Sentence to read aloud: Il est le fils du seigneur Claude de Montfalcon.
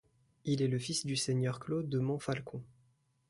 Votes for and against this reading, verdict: 2, 0, accepted